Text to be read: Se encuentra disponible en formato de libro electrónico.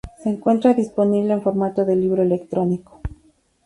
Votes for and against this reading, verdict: 4, 0, accepted